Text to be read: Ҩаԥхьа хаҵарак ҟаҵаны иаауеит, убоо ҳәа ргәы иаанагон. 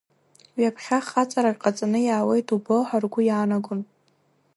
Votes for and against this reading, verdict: 0, 2, rejected